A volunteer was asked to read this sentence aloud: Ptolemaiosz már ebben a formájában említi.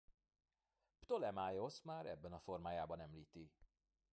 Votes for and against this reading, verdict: 2, 1, accepted